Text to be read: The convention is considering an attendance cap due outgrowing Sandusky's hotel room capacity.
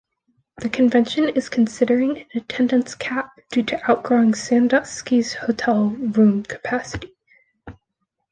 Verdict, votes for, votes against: accepted, 2, 0